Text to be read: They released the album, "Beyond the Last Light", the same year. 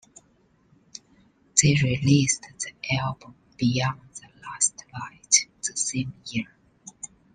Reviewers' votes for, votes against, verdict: 2, 1, accepted